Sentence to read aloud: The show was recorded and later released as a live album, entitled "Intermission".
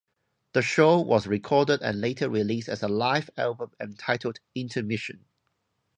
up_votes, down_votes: 2, 0